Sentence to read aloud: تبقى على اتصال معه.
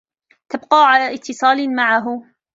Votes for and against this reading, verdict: 1, 2, rejected